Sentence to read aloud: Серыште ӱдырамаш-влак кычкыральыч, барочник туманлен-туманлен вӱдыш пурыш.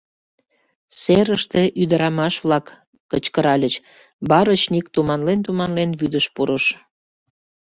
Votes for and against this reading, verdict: 2, 0, accepted